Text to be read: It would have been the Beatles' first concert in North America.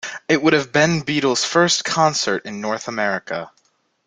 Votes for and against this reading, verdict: 1, 2, rejected